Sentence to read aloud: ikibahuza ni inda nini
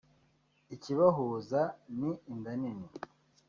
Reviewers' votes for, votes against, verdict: 2, 0, accepted